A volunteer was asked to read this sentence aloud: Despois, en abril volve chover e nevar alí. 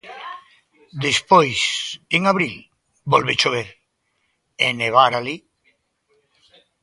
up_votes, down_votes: 2, 0